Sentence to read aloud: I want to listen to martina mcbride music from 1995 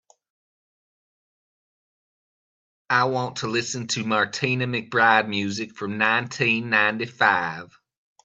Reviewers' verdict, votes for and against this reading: rejected, 0, 2